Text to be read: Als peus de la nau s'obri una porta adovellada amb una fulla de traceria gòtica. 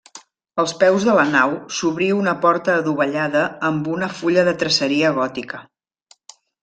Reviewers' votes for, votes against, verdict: 1, 2, rejected